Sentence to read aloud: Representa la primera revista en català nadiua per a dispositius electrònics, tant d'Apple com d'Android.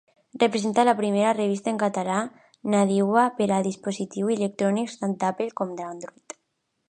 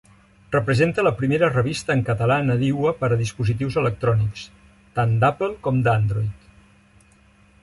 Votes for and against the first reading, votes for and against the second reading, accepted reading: 1, 2, 3, 0, second